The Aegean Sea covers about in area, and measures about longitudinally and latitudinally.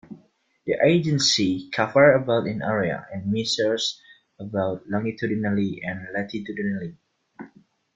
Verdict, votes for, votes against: accepted, 2, 1